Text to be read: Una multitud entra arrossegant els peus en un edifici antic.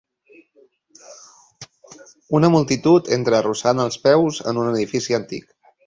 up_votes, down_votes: 1, 2